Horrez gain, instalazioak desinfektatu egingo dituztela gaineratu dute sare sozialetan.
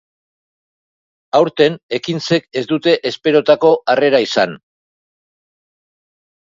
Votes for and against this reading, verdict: 3, 8, rejected